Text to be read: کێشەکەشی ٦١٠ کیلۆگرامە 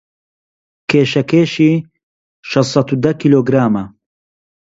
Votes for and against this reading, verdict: 0, 2, rejected